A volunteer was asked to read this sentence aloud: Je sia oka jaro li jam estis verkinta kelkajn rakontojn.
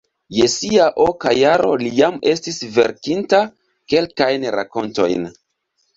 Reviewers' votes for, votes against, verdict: 2, 0, accepted